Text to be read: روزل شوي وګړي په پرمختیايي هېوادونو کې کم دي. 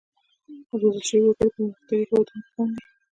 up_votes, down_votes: 0, 2